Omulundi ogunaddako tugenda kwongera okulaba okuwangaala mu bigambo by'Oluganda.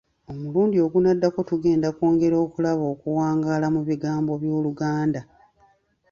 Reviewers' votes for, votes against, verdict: 2, 0, accepted